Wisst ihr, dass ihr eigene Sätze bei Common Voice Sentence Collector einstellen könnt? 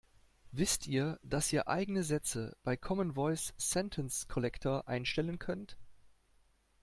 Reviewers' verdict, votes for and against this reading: accepted, 2, 1